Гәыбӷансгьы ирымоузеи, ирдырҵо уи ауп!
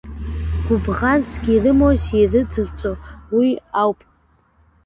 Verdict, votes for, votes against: accepted, 2, 1